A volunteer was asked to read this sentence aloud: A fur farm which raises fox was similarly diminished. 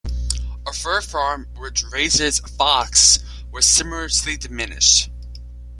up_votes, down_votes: 0, 2